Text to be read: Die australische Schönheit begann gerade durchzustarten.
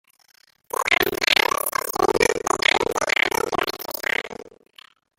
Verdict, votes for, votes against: rejected, 0, 2